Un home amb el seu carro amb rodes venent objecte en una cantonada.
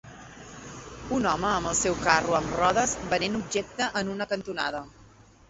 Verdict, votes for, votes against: rejected, 1, 2